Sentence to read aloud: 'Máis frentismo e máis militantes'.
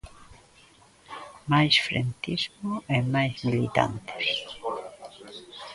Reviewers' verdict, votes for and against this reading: rejected, 0, 2